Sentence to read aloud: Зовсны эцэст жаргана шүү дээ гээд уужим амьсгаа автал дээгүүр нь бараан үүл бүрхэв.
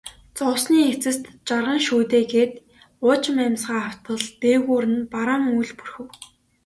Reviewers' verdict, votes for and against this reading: accepted, 2, 0